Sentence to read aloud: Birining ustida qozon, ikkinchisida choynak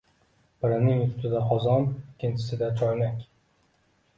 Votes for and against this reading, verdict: 2, 0, accepted